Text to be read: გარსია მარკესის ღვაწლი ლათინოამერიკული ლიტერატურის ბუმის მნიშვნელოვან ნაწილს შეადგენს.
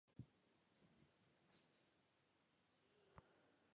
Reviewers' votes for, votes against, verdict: 0, 2, rejected